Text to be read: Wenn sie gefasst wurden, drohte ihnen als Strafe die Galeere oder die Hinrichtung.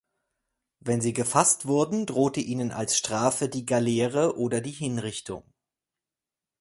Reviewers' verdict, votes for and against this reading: accepted, 4, 0